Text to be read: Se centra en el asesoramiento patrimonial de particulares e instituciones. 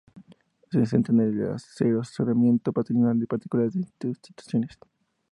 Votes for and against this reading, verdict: 0, 2, rejected